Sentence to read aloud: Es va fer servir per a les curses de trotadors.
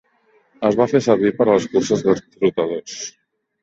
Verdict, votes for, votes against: rejected, 1, 2